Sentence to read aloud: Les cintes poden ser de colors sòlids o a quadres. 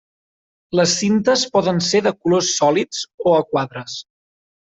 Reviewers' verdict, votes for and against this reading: accepted, 3, 0